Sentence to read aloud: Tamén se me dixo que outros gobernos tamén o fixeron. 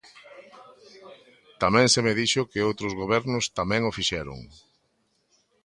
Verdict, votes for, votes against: accepted, 2, 0